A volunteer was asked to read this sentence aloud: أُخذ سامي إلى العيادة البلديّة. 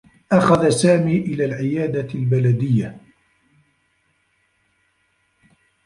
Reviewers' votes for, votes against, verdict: 0, 2, rejected